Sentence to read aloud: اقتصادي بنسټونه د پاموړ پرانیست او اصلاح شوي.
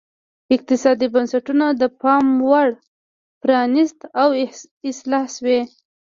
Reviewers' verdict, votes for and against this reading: rejected, 1, 2